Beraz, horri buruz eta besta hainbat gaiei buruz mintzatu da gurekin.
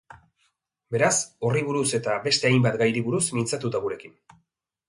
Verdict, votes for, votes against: rejected, 1, 2